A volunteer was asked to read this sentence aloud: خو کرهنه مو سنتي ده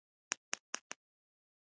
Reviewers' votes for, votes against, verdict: 1, 3, rejected